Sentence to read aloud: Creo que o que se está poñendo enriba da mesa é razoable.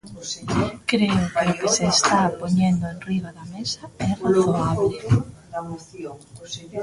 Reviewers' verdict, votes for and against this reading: rejected, 0, 2